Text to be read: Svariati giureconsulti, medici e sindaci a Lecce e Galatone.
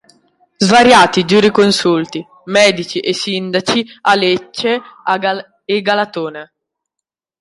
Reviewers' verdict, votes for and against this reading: rejected, 0, 2